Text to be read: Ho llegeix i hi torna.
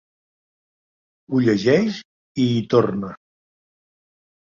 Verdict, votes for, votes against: accepted, 3, 0